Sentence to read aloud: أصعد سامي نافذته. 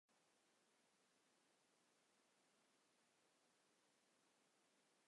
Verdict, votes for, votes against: rejected, 0, 2